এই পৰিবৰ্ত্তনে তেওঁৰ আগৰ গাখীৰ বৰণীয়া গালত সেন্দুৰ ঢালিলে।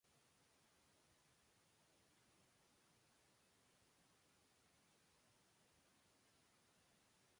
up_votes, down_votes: 0, 3